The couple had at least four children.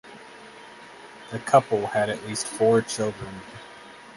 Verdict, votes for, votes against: accepted, 8, 4